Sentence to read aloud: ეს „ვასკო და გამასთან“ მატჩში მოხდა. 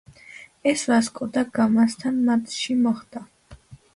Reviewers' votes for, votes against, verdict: 2, 1, accepted